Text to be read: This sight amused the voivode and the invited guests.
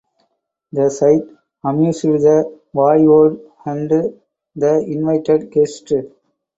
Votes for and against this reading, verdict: 2, 0, accepted